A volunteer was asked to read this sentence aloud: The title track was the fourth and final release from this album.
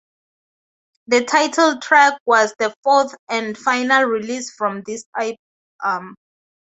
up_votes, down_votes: 0, 2